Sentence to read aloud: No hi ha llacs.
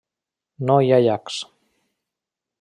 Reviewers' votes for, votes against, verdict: 3, 0, accepted